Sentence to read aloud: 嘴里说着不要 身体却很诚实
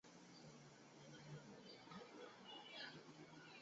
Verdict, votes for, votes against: rejected, 0, 3